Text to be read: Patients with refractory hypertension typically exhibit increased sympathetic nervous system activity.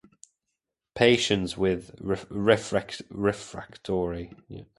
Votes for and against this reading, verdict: 0, 2, rejected